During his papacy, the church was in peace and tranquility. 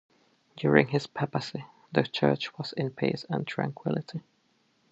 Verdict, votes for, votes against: accepted, 2, 0